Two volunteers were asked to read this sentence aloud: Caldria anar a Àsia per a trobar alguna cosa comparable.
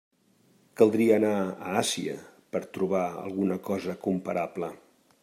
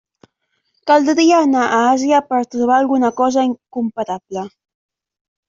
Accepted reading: first